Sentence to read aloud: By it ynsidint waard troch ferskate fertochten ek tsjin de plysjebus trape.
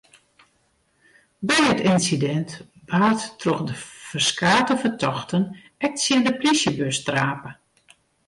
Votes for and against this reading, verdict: 0, 2, rejected